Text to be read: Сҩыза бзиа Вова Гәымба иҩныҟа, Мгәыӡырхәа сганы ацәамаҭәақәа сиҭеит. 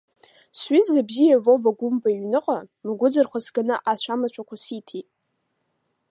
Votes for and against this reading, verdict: 2, 0, accepted